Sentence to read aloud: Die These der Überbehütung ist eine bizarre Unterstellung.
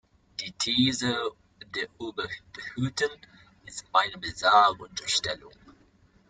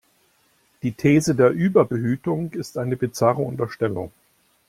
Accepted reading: second